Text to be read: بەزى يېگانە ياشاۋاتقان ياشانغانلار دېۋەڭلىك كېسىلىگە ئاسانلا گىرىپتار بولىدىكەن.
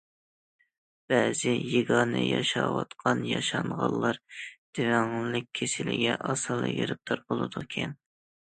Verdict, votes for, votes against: rejected, 1, 2